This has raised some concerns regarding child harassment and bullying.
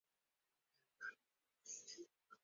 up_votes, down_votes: 2, 4